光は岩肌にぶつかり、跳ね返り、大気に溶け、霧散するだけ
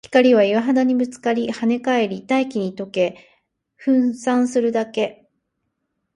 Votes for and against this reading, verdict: 0, 4, rejected